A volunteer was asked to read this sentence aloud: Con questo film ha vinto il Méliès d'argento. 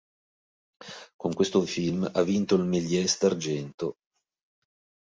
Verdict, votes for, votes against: accepted, 3, 0